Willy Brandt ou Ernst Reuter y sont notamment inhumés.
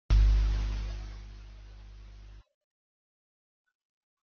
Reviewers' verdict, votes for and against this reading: rejected, 0, 2